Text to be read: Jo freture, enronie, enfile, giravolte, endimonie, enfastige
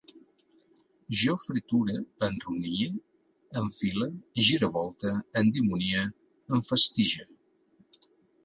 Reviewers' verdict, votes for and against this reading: accepted, 2, 1